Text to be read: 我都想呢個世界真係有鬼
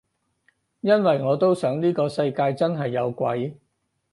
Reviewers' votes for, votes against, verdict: 0, 4, rejected